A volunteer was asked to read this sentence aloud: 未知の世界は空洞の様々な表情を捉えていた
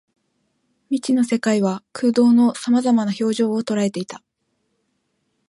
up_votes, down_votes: 4, 0